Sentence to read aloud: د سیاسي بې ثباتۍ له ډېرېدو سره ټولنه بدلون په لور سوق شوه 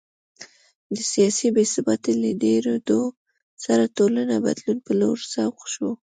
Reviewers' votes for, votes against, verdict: 3, 0, accepted